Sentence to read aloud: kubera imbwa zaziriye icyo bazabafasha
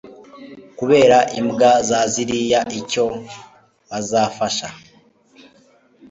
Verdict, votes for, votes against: accepted, 2, 0